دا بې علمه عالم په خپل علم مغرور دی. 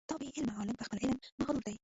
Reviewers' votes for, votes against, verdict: 0, 2, rejected